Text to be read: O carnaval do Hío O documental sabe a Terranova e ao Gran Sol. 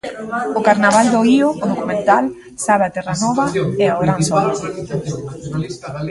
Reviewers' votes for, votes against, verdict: 0, 2, rejected